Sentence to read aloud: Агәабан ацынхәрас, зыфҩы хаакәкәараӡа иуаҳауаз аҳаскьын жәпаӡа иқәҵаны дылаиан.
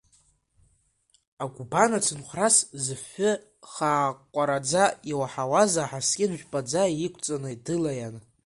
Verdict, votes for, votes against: rejected, 0, 2